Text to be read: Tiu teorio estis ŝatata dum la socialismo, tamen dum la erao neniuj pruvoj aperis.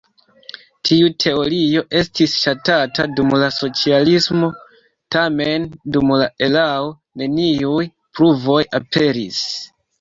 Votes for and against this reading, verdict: 3, 1, accepted